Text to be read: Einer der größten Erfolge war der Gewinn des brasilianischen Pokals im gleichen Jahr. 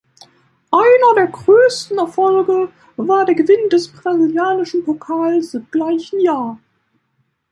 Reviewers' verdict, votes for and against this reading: rejected, 1, 2